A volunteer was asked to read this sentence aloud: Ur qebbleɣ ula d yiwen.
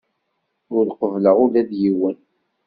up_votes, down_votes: 2, 0